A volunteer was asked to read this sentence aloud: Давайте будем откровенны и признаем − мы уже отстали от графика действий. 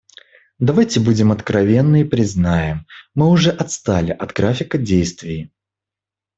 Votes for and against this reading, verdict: 2, 0, accepted